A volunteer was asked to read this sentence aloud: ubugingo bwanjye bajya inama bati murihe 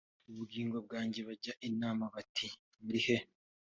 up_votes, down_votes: 3, 0